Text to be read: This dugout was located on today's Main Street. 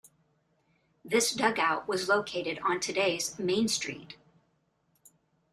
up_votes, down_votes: 2, 1